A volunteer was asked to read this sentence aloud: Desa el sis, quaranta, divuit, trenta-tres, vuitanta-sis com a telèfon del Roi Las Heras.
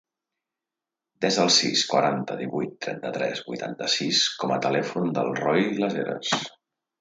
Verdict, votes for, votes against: accepted, 2, 0